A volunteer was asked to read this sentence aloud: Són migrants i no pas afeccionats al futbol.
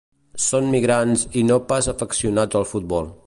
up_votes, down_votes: 1, 2